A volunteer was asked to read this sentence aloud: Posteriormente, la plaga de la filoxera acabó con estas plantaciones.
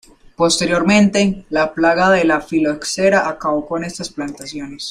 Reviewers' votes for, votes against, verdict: 0, 2, rejected